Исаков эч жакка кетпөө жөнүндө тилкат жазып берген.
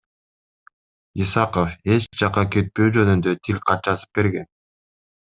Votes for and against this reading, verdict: 2, 0, accepted